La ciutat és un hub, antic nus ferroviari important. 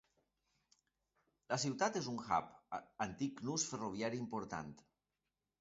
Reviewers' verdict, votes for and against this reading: accepted, 2, 1